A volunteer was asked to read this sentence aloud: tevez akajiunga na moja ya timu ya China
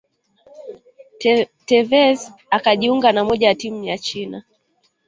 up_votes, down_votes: 1, 2